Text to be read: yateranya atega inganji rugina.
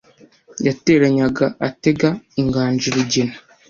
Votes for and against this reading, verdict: 1, 2, rejected